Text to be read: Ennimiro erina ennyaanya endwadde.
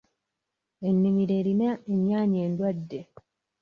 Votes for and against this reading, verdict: 2, 0, accepted